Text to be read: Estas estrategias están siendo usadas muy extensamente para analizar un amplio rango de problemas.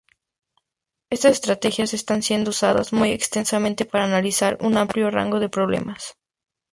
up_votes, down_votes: 0, 2